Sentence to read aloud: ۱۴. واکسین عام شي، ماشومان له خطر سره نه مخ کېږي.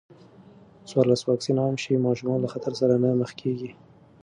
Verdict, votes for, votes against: rejected, 0, 2